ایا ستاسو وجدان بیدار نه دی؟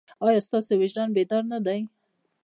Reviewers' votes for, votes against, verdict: 0, 2, rejected